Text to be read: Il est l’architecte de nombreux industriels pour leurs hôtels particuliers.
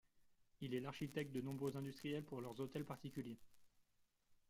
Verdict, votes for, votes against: accepted, 2, 0